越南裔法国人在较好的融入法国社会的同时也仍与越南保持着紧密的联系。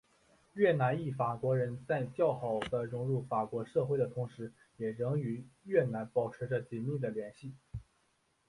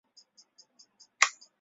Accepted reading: first